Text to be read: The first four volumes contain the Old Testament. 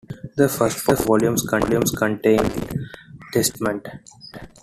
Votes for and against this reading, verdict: 0, 2, rejected